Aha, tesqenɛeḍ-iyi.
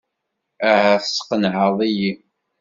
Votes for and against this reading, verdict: 2, 0, accepted